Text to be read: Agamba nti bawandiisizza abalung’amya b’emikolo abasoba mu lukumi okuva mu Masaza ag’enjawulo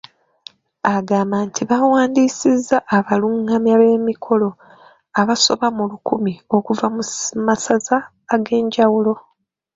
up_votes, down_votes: 1, 2